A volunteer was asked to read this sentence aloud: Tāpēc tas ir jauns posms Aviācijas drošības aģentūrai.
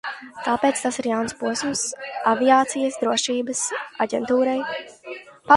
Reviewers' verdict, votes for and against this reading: rejected, 0, 2